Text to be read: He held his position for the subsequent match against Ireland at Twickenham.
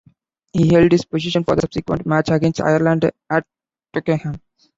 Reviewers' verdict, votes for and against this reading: rejected, 1, 2